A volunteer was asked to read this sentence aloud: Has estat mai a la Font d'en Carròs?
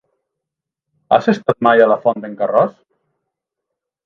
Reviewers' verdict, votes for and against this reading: accepted, 2, 0